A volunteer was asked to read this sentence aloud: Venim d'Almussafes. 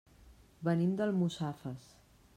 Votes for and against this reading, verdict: 2, 0, accepted